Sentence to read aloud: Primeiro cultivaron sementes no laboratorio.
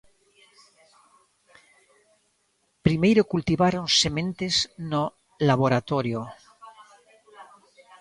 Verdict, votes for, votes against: rejected, 1, 2